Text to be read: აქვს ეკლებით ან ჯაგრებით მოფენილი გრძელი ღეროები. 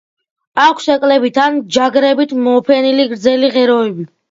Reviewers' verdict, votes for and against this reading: accepted, 2, 1